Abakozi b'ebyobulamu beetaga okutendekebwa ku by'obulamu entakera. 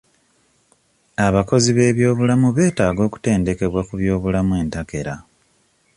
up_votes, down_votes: 2, 0